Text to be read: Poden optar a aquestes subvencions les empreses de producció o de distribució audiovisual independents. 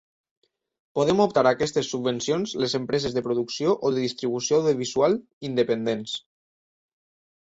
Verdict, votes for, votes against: rejected, 1, 2